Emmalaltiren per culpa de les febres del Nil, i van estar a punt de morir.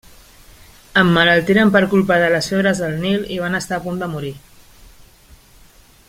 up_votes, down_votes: 1, 2